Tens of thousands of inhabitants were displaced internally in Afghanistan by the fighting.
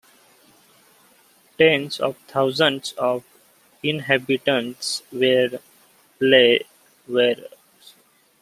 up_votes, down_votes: 0, 2